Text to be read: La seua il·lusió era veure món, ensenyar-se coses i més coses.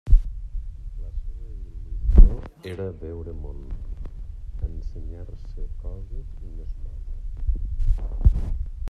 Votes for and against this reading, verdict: 0, 2, rejected